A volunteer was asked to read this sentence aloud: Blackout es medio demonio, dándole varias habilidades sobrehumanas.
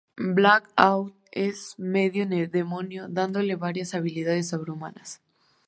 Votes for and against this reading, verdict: 0, 2, rejected